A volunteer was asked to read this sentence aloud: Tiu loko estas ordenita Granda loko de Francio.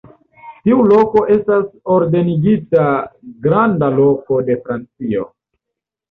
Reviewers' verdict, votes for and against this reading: rejected, 1, 2